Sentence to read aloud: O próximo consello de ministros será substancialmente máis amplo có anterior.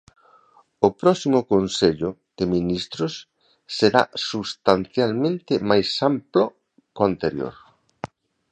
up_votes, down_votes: 2, 0